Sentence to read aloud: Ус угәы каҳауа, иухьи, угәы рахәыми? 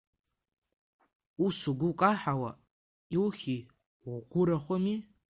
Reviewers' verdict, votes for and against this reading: rejected, 0, 2